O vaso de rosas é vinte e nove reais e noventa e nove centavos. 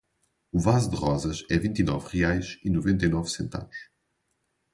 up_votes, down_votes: 0, 2